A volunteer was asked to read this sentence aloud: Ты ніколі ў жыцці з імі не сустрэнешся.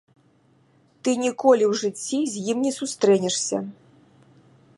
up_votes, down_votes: 1, 2